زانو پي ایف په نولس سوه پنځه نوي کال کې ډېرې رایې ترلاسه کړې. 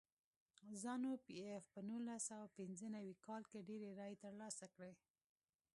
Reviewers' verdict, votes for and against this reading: accepted, 2, 0